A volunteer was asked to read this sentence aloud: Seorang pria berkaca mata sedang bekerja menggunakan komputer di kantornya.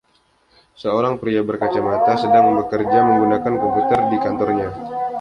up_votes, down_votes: 0, 2